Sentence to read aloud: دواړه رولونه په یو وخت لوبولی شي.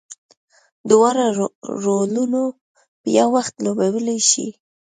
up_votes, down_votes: 2, 0